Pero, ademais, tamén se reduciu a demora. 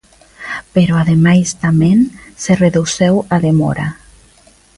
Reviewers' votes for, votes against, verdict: 0, 2, rejected